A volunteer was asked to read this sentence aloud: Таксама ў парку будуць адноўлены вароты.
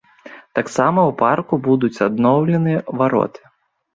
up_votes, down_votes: 2, 0